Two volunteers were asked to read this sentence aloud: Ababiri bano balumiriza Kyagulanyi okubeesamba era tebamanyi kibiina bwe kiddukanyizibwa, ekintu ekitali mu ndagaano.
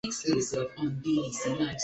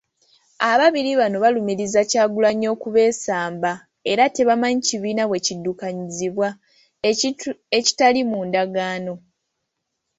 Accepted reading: second